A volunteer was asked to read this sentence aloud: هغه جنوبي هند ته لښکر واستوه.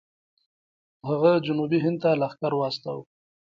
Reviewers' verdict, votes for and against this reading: rejected, 1, 2